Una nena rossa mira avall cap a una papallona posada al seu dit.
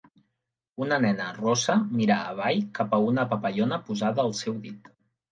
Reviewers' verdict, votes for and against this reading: accepted, 5, 0